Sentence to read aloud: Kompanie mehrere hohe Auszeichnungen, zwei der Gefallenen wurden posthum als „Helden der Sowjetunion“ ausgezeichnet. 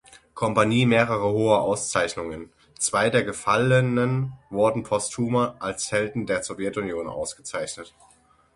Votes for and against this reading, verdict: 0, 6, rejected